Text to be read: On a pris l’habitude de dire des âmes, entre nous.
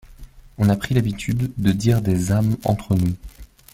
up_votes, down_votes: 2, 0